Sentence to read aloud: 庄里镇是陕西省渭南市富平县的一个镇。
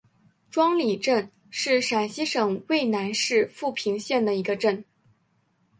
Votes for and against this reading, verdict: 2, 0, accepted